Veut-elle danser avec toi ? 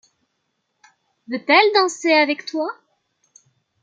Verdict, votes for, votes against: accepted, 2, 0